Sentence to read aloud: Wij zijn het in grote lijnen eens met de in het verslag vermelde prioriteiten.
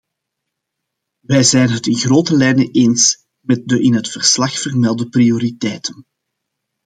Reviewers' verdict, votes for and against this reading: accepted, 2, 0